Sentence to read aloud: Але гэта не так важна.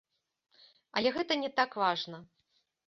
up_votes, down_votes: 2, 0